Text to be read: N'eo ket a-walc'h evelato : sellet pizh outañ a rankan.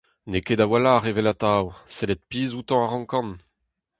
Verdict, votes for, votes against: rejected, 2, 2